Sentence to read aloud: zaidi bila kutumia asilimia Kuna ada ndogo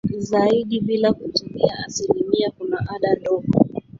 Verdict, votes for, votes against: rejected, 1, 2